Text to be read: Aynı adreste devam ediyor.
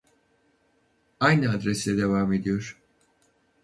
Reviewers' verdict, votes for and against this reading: rejected, 2, 2